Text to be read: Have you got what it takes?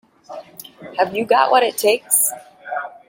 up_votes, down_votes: 2, 0